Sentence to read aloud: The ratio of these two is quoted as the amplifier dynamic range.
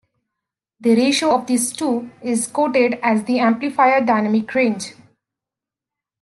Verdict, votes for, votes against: rejected, 1, 2